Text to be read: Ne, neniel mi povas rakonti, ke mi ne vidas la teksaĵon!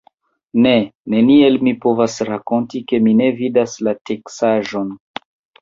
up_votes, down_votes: 0, 2